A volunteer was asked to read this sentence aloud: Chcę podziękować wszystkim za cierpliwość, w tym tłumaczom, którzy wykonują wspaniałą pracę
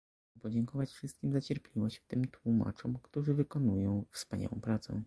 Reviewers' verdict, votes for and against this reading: rejected, 1, 2